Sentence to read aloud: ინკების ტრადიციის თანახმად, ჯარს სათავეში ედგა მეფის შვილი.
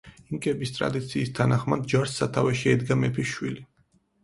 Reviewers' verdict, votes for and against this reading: accepted, 4, 0